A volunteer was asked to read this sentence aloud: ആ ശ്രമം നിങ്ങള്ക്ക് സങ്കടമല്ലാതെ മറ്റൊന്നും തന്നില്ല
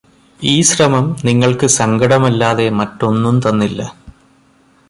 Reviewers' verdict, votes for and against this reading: rejected, 1, 2